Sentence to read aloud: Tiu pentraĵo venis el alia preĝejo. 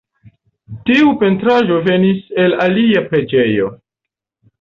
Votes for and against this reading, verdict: 2, 1, accepted